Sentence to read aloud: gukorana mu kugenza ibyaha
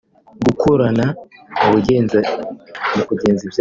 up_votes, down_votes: 0, 3